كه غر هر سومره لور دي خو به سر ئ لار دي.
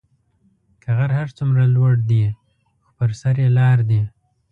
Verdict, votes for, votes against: rejected, 1, 2